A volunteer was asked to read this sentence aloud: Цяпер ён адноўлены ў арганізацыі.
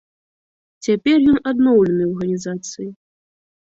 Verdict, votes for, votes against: accepted, 2, 1